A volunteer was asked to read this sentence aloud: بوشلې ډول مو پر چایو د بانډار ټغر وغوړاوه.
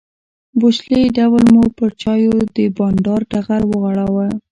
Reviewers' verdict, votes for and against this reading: accepted, 2, 0